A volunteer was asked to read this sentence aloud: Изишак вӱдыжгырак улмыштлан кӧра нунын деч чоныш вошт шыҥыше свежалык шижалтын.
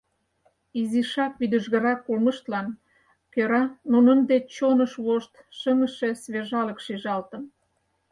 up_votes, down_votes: 4, 0